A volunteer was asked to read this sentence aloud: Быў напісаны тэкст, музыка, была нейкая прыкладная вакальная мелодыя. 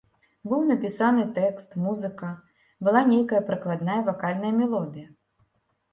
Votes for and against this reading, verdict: 1, 2, rejected